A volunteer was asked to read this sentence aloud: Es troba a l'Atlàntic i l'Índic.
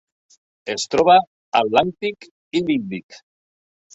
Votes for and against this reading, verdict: 0, 3, rejected